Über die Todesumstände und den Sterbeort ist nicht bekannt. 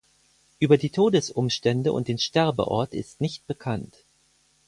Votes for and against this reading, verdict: 4, 0, accepted